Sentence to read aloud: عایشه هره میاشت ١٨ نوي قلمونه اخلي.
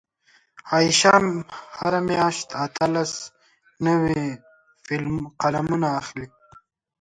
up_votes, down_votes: 0, 2